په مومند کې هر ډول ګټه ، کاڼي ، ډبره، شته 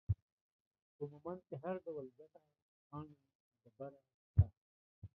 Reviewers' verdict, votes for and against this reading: rejected, 0, 2